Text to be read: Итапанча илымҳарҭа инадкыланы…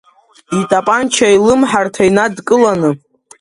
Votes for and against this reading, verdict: 3, 0, accepted